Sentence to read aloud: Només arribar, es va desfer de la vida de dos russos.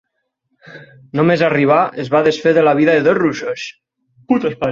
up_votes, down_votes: 0, 6